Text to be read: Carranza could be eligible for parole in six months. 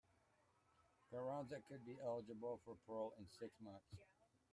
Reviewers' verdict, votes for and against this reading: rejected, 1, 2